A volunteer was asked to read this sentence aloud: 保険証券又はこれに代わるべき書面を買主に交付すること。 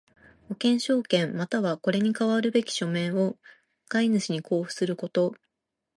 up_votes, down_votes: 2, 0